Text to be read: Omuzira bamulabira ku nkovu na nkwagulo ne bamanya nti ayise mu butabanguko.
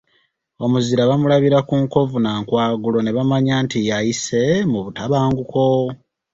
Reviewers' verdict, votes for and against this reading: accepted, 2, 0